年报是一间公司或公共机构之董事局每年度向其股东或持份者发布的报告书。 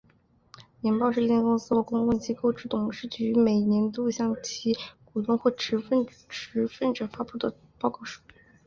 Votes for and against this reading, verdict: 3, 1, accepted